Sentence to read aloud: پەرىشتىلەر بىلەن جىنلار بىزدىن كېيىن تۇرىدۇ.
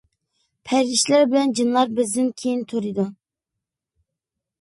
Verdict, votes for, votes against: accepted, 2, 1